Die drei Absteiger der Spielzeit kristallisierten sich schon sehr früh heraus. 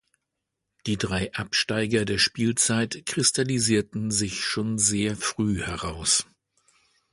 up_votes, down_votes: 2, 0